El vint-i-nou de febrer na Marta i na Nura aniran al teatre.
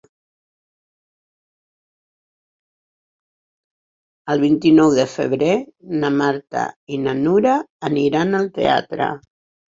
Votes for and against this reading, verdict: 6, 0, accepted